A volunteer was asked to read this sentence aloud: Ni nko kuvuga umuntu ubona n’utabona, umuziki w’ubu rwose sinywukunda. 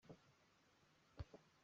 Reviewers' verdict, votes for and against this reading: rejected, 0, 3